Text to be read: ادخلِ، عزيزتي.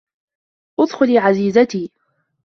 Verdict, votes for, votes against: accepted, 2, 0